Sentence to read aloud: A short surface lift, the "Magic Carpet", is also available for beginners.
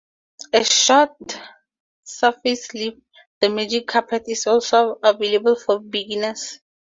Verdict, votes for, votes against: accepted, 4, 0